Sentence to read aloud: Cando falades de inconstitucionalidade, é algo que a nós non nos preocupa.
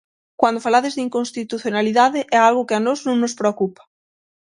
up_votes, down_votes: 0, 6